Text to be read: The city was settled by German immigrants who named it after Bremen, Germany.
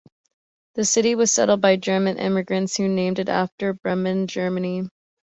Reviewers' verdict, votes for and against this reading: accepted, 2, 0